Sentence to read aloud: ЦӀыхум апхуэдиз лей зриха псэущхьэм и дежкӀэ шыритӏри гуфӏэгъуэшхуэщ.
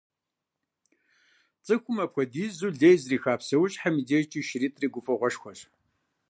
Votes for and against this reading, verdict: 0, 2, rejected